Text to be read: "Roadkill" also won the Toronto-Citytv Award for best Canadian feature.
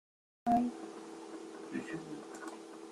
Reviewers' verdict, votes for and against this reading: rejected, 0, 2